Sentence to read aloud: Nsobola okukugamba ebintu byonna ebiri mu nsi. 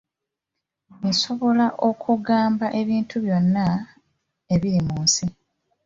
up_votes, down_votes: 2, 0